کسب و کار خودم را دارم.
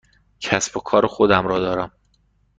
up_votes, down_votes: 2, 0